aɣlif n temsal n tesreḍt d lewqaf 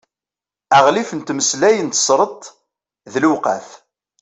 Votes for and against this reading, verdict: 0, 2, rejected